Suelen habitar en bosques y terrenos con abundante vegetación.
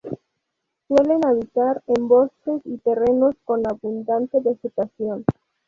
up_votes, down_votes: 0, 2